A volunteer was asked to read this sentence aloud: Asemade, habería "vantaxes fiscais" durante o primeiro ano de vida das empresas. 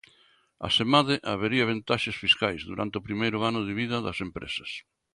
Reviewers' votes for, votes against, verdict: 1, 2, rejected